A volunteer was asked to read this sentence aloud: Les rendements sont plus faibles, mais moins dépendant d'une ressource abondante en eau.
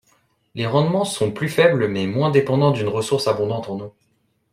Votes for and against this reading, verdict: 2, 0, accepted